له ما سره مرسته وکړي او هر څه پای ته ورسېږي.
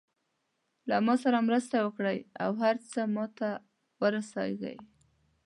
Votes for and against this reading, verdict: 1, 2, rejected